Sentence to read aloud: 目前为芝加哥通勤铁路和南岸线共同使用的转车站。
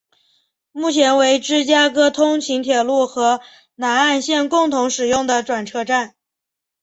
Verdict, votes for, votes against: accepted, 2, 0